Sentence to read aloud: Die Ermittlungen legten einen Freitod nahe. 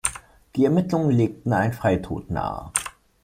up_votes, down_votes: 2, 0